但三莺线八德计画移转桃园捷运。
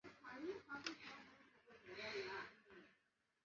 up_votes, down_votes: 0, 3